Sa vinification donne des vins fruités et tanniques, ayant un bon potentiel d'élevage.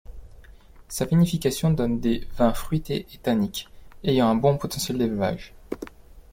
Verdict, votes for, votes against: accepted, 2, 0